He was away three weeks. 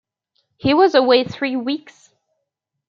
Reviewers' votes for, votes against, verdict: 2, 0, accepted